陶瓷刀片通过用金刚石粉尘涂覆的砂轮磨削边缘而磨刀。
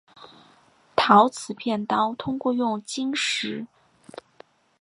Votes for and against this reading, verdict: 1, 3, rejected